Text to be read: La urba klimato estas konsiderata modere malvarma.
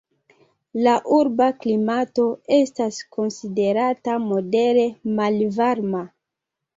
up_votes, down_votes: 3, 1